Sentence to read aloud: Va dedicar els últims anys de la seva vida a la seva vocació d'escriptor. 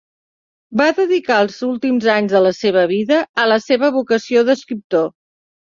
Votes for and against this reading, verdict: 3, 0, accepted